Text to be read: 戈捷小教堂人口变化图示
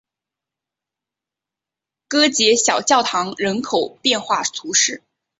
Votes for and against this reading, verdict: 2, 0, accepted